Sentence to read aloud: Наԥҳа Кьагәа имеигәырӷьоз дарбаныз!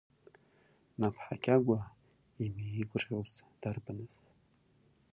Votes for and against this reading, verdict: 1, 2, rejected